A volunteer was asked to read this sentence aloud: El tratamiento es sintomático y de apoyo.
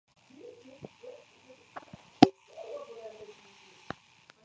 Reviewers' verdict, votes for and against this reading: accepted, 2, 0